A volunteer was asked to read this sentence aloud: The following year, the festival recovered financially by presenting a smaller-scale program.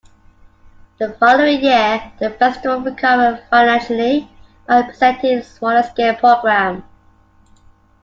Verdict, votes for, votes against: rejected, 0, 2